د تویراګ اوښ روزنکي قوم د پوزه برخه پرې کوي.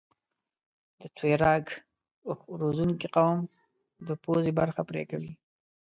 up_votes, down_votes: 1, 2